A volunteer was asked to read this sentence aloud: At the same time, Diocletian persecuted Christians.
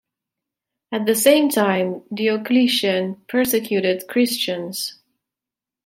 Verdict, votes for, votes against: accepted, 2, 1